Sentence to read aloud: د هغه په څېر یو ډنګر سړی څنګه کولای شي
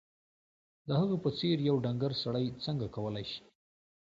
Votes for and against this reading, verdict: 2, 0, accepted